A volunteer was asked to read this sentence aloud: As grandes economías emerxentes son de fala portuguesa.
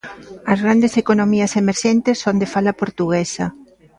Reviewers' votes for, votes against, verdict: 2, 0, accepted